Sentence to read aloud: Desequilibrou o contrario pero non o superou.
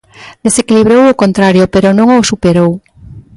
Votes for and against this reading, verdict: 2, 0, accepted